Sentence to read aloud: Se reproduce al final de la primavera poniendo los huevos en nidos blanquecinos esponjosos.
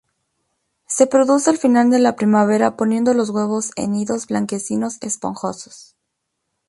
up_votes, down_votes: 0, 2